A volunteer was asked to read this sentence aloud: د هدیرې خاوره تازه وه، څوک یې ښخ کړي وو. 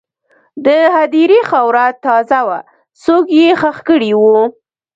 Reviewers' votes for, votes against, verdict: 1, 2, rejected